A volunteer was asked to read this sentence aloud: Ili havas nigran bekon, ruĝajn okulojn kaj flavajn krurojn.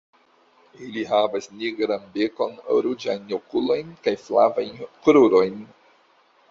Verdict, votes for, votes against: rejected, 1, 2